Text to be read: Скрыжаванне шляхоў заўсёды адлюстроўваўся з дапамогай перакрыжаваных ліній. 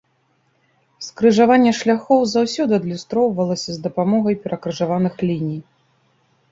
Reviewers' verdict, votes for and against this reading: rejected, 1, 2